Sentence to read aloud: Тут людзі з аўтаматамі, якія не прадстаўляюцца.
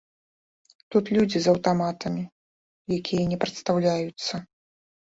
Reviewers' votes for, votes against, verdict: 2, 0, accepted